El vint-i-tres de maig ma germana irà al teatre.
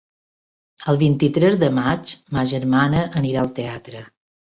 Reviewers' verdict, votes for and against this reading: rejected, 0, 2